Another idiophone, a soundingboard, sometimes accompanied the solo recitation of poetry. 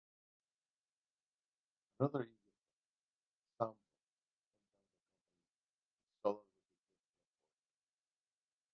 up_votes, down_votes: 1, 2